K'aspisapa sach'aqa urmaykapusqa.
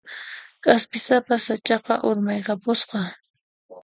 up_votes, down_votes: 2, 0